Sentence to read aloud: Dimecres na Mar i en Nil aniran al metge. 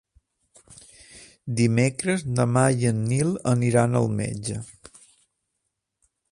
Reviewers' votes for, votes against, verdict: 3, 0, accepted